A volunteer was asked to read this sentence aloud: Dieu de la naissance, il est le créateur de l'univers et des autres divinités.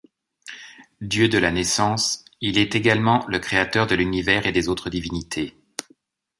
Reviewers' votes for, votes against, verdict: 1, 2, rejected